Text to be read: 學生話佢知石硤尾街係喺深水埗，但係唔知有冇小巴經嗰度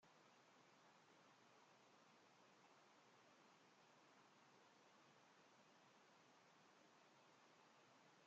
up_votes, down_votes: 0, 2